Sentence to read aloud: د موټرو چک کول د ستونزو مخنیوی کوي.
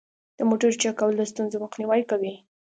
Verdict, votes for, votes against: accepted, 2, 0